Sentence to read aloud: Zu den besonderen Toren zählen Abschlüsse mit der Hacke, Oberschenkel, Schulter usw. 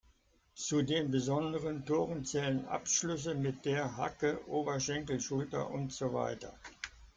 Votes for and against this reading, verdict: 2, 0, accepted